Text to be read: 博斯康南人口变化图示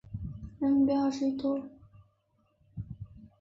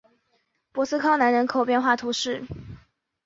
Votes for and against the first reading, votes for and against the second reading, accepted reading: 0, 3, 2, 0, second